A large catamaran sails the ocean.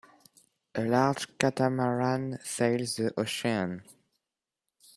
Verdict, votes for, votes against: rejected, 1, 2